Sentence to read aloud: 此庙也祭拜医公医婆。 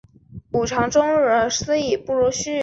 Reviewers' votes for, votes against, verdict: 0, 2, rejected